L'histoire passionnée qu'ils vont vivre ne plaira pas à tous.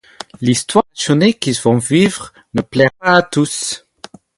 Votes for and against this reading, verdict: 4, 2, accepted